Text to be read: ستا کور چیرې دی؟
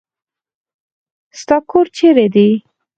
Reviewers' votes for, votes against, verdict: 4, 2, accepted